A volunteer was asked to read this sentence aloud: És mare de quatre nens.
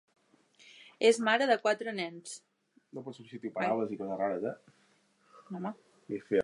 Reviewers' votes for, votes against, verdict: 0, 2, rejected